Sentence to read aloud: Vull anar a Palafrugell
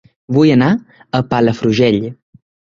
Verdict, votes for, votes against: accepted, 2, 0